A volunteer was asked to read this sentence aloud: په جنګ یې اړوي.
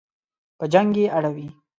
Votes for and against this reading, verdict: 3, 0, accepted